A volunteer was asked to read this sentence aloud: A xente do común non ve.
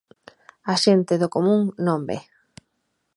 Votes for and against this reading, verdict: 2, 0, accepted